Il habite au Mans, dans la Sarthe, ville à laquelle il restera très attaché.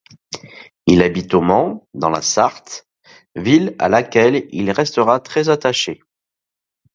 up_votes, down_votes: 2, 0